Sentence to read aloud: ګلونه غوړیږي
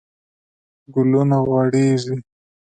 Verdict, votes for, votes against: accepted, 2, 0